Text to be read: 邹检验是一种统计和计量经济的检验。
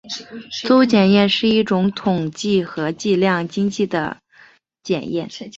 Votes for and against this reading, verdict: 2, 0, accepted